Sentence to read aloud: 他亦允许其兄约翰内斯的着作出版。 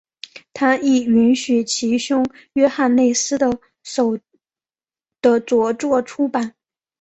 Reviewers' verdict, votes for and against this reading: accepted, 3, 1